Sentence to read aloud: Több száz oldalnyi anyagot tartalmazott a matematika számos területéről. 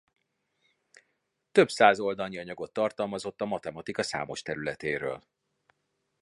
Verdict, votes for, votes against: accepted, 2, 0